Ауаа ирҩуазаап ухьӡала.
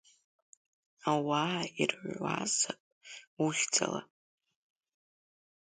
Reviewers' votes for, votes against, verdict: 2, 1, accepted